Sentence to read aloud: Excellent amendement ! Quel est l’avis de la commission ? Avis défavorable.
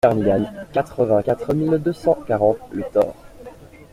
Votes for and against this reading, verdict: 0, 2, rejected